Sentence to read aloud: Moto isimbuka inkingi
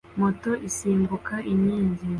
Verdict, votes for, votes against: accepted, 2, 0